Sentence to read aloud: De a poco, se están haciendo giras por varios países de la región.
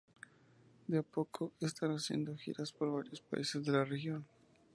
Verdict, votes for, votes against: rejected, 2, 2